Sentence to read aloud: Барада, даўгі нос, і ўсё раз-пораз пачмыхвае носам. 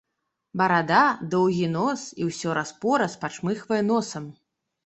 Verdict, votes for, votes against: rejected, 1, 2